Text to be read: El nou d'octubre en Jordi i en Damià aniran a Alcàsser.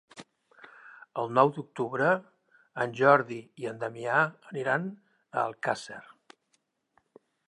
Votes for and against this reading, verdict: 3, 0, accepted